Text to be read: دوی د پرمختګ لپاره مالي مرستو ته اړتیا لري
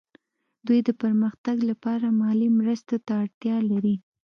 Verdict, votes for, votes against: accepted, 2, 0